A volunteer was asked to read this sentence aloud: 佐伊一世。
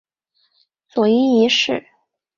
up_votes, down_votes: 5, 0